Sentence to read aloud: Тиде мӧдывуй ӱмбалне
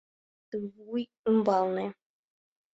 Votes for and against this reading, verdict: 1, 3, rejected